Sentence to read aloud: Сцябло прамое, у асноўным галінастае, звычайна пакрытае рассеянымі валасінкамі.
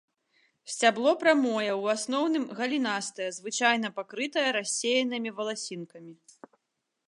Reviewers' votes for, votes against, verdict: 2, 0, accepted